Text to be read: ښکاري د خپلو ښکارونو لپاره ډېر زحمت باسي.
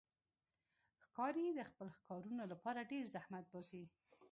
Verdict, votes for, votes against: rejected, 1, 2